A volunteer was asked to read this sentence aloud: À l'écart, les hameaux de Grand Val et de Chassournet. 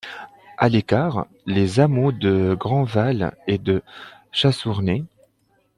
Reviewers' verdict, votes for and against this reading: rejected, 1, 2